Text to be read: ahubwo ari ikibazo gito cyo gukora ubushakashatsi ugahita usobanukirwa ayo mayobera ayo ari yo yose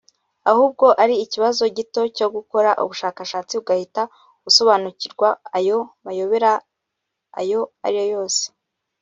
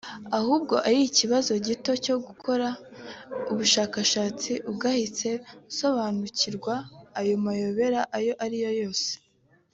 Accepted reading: first